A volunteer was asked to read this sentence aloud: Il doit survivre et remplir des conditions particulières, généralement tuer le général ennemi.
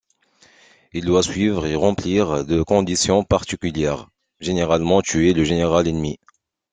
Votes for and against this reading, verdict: 0, 2, rejected